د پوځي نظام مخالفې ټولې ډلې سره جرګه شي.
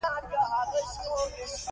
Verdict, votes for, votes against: accepted, 2, 0